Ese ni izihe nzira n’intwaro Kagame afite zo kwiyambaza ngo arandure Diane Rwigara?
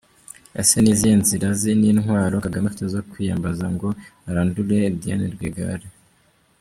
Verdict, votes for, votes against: rejected, 1, 2